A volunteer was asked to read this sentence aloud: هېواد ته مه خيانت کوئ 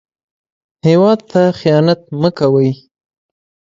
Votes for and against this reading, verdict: 2, 0, accepted